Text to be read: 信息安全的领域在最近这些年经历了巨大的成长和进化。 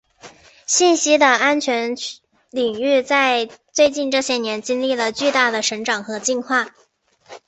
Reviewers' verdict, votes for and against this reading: rejected, 1, 2